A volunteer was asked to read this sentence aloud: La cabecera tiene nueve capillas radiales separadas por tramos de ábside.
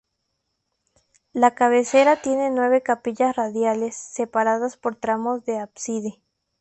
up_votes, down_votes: 2, 0